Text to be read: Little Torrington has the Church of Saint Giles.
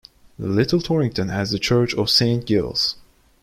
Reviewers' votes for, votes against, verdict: 0, 2, rejected